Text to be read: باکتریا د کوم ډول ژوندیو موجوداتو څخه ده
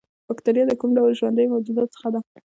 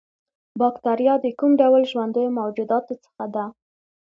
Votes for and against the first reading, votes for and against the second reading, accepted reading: 0, 2, 2, 0, second